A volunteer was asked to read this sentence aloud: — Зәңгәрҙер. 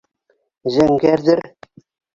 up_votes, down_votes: 0, 2